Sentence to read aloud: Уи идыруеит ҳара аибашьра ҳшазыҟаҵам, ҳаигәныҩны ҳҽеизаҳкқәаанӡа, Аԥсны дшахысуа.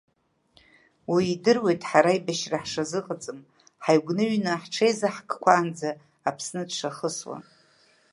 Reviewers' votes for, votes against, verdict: 2, 0, accepted